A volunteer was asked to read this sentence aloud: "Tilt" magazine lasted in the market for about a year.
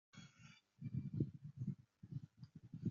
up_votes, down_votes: 0, 2